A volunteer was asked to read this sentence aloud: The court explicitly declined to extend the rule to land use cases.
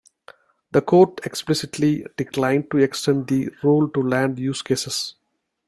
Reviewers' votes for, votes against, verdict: 2, 0, accepted